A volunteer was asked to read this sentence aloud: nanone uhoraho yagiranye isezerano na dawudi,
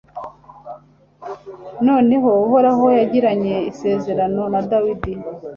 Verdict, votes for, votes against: rejected, 1, 2